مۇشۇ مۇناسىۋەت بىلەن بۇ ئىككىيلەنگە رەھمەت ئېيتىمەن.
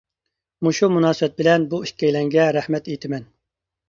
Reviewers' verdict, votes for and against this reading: accepted, 2, 0